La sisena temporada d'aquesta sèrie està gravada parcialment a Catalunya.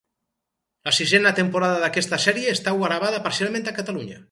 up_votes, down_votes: 2, 0